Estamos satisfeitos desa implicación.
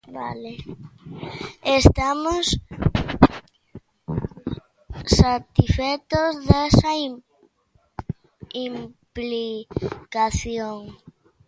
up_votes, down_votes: 0, 2